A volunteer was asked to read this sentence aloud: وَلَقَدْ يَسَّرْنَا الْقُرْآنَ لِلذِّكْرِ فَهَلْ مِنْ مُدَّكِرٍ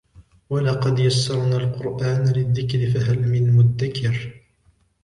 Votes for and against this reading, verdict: 2, 0, accepted